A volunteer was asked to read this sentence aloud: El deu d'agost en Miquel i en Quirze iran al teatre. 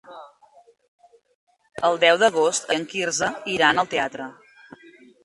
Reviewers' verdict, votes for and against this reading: rejected, 0, 2